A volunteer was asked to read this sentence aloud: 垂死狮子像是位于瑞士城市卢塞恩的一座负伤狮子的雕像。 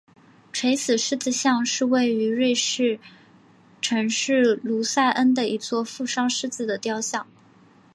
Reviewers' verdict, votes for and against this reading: accepted, 2, 0